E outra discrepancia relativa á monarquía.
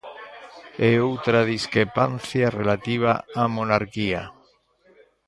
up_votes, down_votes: 0, 2